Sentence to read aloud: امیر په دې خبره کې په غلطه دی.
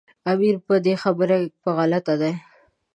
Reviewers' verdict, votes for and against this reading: accepted, 2, 0